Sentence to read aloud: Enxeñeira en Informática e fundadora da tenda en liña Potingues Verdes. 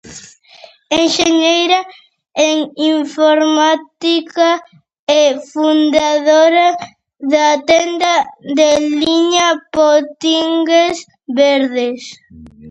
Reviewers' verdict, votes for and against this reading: rejected, 0, 2